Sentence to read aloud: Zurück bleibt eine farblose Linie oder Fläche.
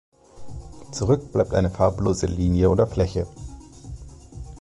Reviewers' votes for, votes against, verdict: 2, 0, accepted